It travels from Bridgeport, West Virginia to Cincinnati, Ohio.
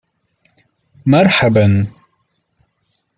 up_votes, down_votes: 1, 2